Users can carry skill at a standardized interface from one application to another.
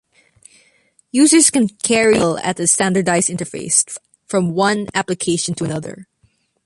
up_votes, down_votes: 1, 2